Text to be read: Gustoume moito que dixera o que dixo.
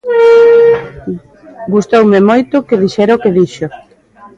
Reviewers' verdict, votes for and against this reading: accepted, 2, 0